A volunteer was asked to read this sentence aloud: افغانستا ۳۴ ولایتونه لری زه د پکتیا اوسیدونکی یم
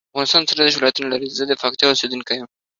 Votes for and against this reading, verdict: 0, 2, rejected